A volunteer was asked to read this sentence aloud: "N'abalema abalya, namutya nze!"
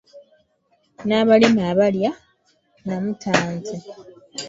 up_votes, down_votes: 1, 2